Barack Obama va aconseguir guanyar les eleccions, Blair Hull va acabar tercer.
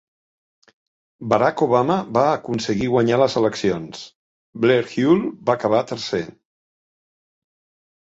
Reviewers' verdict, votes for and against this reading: accepted, 4, 0